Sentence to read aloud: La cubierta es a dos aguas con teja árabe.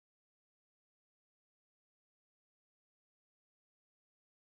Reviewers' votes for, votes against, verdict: 0, 2, rejected